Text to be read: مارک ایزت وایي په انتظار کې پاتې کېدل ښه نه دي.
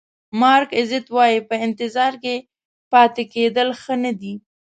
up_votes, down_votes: 2, 0